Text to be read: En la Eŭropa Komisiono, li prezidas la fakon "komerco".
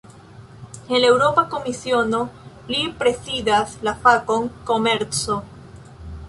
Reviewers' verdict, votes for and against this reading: rejected, 1, 2